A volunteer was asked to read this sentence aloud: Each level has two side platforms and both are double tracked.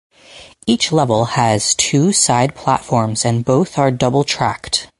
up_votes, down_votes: 4, 0